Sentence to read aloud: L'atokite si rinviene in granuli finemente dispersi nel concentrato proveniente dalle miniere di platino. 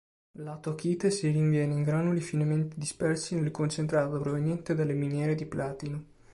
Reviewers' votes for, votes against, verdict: 3, 0, accepted